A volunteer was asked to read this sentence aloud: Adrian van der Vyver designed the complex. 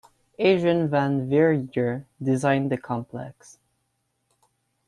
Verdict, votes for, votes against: rejected, 0, 2